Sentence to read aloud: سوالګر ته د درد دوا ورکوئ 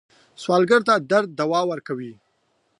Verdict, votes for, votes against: accepted, 2, 0